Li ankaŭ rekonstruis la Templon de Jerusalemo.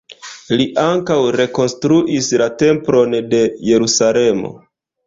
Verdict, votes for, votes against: rejected, 1, 2